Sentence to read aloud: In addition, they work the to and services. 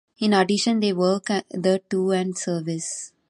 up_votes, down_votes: 1, 3